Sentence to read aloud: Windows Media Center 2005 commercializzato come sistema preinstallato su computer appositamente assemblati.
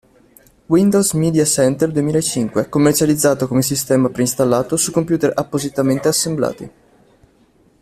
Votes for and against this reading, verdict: 0, 2, rejected